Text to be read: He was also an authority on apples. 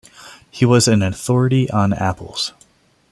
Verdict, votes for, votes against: rejected, 1, 2